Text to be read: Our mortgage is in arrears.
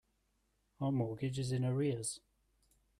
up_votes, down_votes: 2, 0